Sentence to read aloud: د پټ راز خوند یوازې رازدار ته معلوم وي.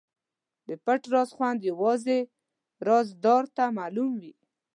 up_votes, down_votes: 0, 2